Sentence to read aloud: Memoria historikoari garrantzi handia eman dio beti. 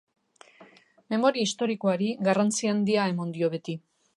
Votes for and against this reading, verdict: 2, 0, accepted